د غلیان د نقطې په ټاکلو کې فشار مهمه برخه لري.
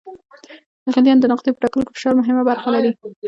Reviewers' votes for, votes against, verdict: 2, 1, accepted